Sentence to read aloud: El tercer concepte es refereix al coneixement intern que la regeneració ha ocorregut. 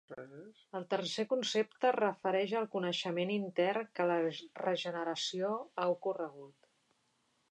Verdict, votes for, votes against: rejected, 0, 2